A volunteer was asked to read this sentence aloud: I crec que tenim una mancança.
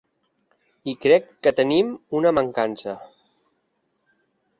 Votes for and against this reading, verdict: 3, 0, accepted